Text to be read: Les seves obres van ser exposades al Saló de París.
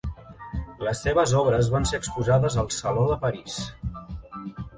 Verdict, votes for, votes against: accepted, 2, 1